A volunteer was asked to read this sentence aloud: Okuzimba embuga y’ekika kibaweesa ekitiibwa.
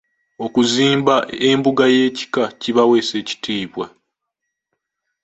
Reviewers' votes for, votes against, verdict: 2, 0, accepted